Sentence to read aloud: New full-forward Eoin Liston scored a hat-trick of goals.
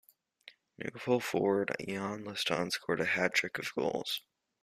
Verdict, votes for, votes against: accepted, 2, 0